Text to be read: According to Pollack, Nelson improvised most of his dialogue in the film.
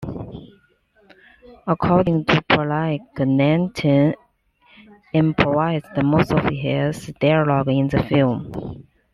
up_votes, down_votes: 2, 1